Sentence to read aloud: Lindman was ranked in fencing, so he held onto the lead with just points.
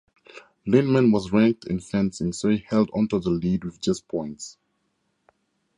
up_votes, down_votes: 4, 0